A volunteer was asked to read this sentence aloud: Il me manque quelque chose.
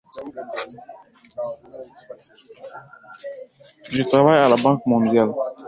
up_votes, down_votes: 0, 2